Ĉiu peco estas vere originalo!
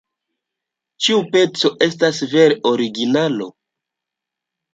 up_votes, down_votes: 0, 2